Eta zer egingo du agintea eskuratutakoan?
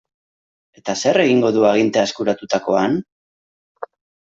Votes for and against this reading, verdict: 2, 0, accepted